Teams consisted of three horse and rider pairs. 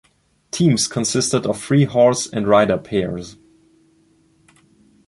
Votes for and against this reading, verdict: 2, 0, accepted